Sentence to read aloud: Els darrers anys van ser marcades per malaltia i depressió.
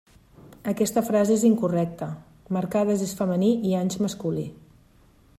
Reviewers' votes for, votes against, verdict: 1, 2, rejected